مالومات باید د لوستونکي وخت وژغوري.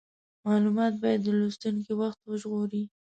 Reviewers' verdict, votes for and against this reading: accepted, 2, 0